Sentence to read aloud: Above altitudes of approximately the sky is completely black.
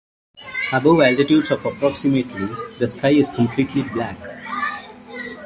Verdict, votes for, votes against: rejected, 1, 2